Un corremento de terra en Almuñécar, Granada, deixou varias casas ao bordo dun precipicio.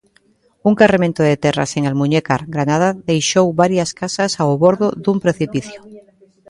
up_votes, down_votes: 1, 3